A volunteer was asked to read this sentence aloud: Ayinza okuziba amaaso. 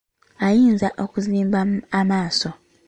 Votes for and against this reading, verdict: 0, 2, rejected